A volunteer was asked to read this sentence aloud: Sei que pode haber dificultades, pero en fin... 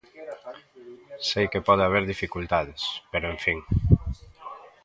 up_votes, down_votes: 2, 0